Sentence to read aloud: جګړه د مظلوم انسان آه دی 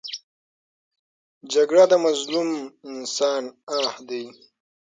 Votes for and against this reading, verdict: 9, 0, accepted